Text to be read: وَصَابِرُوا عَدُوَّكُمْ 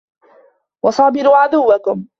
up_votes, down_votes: 2, 0